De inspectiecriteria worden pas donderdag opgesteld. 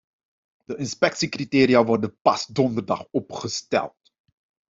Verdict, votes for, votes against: accepted, 2, 0